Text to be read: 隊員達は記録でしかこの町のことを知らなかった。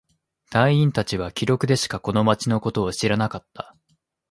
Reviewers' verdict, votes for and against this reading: accepted, 2, 0